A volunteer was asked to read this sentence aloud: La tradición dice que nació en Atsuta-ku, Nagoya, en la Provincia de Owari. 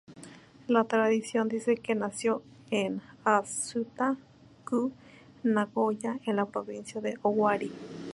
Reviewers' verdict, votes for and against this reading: rejected, 0, 2